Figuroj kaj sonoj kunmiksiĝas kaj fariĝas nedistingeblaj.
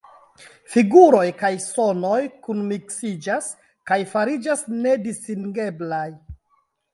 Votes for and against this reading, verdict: 2, 1, accepted